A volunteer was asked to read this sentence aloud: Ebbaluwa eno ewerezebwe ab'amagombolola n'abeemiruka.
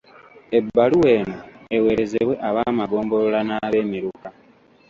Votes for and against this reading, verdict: 2, 0, accepted